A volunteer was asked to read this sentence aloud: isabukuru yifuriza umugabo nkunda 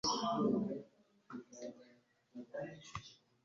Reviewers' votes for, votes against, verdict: 1, 2, rejected